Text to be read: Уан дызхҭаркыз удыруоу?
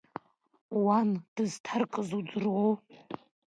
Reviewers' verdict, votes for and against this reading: accepted, 2, 1